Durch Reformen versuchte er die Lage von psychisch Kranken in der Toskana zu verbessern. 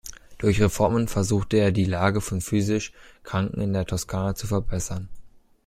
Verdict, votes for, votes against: rejected, 0, 2